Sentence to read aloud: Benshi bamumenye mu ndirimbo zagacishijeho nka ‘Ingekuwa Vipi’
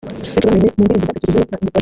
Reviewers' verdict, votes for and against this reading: rejected, 0, 2